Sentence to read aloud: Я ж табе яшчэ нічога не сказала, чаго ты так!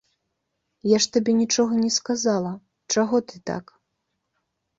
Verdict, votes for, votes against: rejected, 2, 3